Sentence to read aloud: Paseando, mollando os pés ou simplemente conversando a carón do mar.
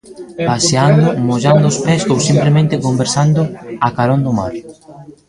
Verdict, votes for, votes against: rejected, 0, 2